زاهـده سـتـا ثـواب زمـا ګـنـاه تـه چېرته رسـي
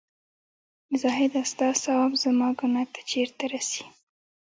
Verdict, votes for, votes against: rejected, 1, 2